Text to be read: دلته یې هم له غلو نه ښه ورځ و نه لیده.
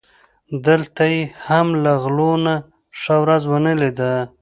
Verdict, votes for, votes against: accepted, 2, 0